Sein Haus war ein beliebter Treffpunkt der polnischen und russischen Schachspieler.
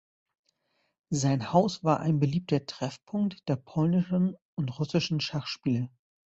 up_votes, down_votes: 1, 2